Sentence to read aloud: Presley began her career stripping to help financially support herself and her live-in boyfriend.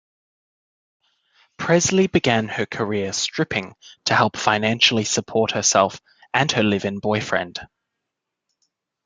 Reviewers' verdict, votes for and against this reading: accepted, 2, 0